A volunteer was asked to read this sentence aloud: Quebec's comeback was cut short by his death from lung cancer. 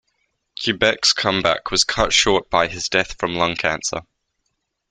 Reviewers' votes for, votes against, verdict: 2, 0, accepted